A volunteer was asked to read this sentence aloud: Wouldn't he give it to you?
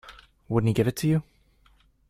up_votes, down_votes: 2, 0